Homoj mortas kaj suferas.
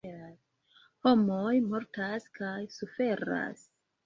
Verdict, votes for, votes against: rejected, 0, 2